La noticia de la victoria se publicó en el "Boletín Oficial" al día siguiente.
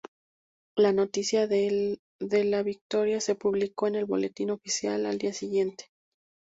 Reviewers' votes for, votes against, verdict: 2, 2, rejected